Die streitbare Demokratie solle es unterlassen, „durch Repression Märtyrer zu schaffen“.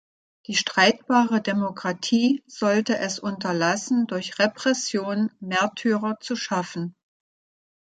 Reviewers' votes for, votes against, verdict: 0, 2, rejected